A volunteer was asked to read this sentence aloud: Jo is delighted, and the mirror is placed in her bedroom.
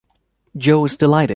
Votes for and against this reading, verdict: 0, 2, rejected